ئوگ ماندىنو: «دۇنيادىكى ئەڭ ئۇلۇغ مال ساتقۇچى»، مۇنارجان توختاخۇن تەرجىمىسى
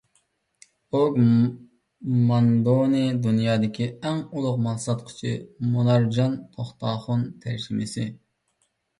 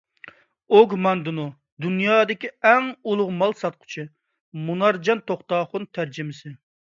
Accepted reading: second